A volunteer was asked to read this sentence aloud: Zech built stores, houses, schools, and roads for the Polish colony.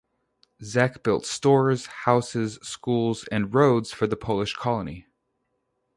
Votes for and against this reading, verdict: 2, 0, accepted